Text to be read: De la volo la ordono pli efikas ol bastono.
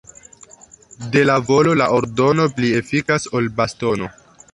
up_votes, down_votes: 0, 2